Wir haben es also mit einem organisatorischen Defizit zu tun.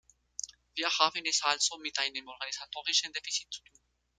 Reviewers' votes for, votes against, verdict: 2, 1, accepted